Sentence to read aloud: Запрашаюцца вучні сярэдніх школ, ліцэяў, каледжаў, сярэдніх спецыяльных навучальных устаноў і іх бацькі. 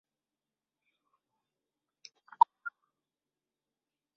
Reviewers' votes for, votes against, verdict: 0, 2, rejected